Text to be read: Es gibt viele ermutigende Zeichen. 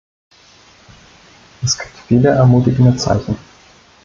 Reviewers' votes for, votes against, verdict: 0, 2, rejected